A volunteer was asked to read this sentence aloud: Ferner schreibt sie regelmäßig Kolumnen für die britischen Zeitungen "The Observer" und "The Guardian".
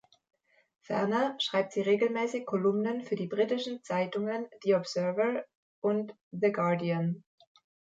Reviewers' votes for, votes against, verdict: 1, 2, rejected